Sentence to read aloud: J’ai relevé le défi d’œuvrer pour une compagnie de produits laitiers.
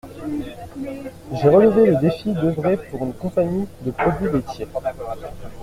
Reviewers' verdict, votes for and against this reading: accepted, 2, 1